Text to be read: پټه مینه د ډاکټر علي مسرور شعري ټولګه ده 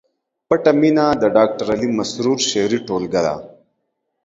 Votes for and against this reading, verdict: 2, 0, accepted